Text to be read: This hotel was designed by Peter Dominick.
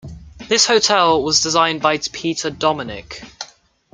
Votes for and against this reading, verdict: 1, 2, rejected